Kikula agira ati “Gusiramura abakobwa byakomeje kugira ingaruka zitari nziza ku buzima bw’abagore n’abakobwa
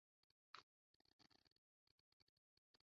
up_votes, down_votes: 0, 2